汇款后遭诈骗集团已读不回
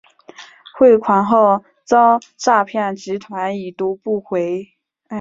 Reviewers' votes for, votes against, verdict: 4, 0, accepted